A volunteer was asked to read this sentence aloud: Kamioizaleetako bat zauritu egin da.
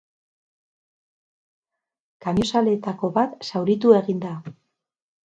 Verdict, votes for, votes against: rejected, 0, 2